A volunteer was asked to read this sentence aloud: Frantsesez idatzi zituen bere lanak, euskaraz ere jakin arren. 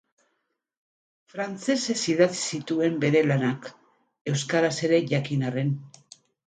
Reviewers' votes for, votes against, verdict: 0, 2, rejected